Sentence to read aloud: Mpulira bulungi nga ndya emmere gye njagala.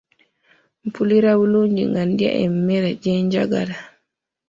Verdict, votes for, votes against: accepted, 2, 0